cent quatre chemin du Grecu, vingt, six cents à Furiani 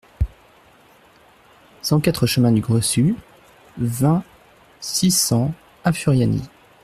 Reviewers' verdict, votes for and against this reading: rejected, 1, 2